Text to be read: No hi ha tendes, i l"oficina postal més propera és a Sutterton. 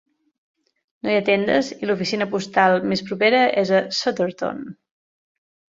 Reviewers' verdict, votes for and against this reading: accepted, 2, 0